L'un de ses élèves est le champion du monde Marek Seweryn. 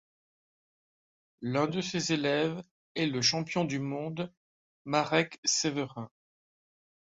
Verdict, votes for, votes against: rejected, 1, 2